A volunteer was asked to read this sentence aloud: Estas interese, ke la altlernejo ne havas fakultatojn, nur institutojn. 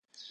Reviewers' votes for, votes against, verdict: 0, 2, rejected